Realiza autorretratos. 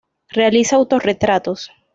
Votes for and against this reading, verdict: 2, 0, accepted